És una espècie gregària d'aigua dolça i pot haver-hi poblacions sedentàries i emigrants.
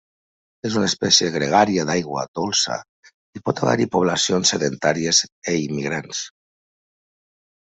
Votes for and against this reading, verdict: 0, 2, rejected